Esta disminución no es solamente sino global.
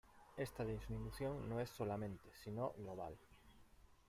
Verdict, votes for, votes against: rejected, 0, 2